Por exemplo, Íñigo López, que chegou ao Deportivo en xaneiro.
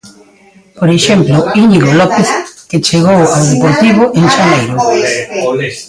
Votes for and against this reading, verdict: 1, 2, rejected